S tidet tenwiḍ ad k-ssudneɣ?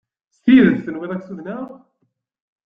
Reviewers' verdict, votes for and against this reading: accepted, 2, 0